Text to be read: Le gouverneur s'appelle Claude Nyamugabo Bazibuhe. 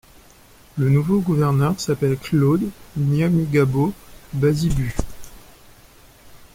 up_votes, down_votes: 0, 2